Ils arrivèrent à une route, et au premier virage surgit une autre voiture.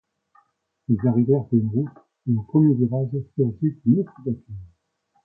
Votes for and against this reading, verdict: 1, 2, rejected